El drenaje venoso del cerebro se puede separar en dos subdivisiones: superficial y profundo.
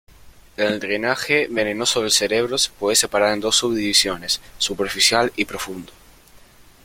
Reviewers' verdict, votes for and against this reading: rejected, 0, 2